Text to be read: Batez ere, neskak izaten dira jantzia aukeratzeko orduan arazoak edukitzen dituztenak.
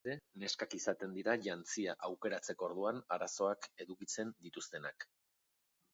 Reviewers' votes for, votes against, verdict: 0, 2, rejected